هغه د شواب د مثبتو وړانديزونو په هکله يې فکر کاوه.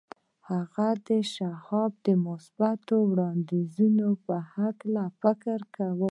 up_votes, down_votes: 1, 2